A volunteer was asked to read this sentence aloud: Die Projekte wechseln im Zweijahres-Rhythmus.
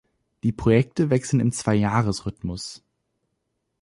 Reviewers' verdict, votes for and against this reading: accepted, 2, 0